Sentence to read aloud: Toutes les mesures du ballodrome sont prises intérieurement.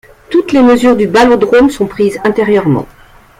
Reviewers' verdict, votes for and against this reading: accepted, 2, 0